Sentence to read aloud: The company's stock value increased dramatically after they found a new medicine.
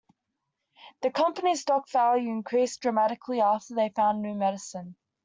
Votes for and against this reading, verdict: 1, 2, rejected